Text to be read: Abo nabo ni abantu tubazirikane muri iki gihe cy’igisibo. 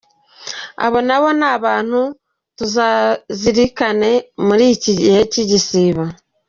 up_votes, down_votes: 0, 2